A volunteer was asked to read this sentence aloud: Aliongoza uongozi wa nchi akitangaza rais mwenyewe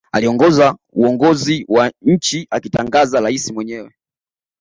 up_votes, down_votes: 2, 0